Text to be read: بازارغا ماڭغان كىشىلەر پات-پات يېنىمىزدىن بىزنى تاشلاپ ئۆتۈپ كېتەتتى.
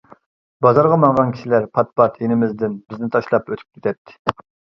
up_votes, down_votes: 2, 0